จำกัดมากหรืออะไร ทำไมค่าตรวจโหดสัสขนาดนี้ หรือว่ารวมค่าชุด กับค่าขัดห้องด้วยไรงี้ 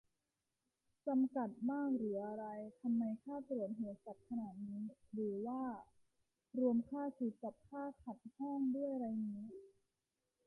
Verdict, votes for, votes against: accepted, 2, 1